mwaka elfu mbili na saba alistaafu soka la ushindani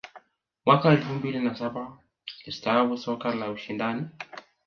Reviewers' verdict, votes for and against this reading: accepted, 2, 1